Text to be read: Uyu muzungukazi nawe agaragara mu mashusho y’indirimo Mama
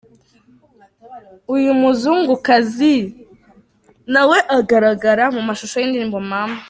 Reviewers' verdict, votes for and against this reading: accepted, 2, 0